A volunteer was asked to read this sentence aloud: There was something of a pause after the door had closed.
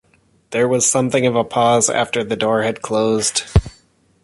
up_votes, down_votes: 1, 2